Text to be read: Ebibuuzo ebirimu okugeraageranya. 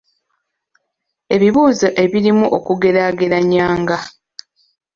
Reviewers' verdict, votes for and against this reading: rejected, 1, 2